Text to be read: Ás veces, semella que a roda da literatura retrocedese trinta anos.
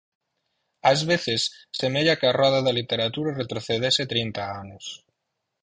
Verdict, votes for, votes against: accepted, 4, 0